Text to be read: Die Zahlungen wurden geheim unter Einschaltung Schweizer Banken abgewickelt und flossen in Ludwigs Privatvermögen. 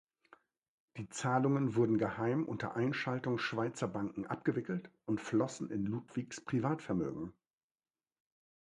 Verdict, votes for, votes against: accepted, 2, 0